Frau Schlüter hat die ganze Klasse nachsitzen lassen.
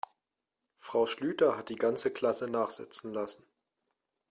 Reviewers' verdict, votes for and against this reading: accepted, 3, 0